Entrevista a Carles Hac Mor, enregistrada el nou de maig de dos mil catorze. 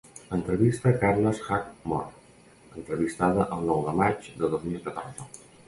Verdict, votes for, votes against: rejected, 1, 2